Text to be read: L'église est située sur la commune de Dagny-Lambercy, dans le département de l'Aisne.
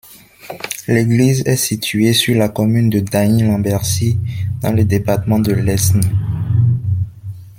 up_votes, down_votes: 1, 2